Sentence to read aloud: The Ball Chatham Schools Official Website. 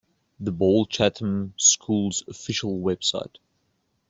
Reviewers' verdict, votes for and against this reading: accepted, 2, 0